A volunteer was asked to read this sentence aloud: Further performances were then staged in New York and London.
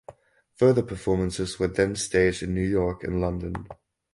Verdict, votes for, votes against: accepted, 4, 0